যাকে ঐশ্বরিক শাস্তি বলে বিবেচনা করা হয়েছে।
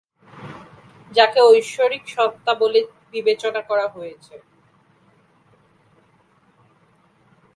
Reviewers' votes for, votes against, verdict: 0, 4, rejected